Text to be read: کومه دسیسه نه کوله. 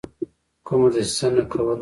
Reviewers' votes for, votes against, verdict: 2, 3, rejected